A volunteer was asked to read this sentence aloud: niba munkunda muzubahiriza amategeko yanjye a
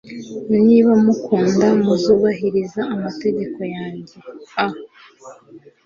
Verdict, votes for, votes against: accepted, 2, 0